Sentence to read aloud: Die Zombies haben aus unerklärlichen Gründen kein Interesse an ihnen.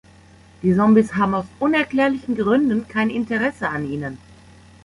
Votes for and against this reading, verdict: 1, 2, rejected